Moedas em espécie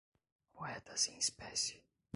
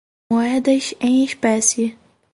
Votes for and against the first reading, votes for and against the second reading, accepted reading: 1, 2, 4, 0, second